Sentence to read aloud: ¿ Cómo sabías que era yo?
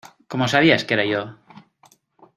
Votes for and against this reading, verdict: 2, 0, accepted